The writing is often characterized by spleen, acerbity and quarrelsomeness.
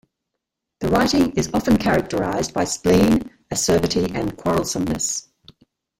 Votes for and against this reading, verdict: 1, 2, rejected